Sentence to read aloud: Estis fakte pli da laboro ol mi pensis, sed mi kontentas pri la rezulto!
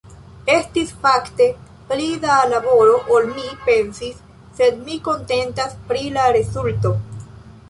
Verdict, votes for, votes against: rejected, 1, 2